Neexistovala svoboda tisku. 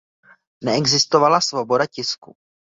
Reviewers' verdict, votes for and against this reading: accepted, 2, 0